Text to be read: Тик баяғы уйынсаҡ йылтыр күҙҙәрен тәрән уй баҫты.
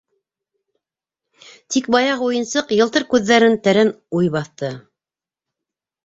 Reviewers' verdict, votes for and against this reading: rejected, 1, 2